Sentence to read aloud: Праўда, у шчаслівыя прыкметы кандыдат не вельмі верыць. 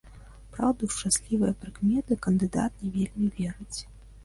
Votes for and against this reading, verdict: 1, 2, rejected